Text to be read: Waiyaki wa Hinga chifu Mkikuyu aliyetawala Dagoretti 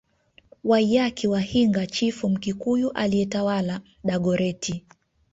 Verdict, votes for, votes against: accepted, 2, 0